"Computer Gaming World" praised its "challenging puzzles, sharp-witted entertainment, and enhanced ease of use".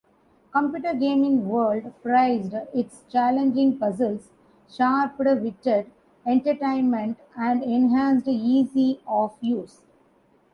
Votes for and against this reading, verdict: 0, 2, rejected